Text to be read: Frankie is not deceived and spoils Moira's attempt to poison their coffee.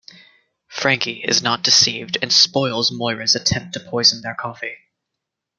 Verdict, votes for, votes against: accepted, 2, 0